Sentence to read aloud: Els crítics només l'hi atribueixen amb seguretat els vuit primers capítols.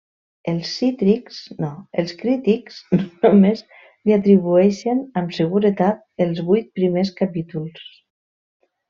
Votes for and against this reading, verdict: 0, 2, rejected